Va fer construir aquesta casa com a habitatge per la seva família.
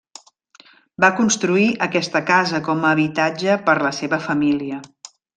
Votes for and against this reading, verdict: 0, 2, rejected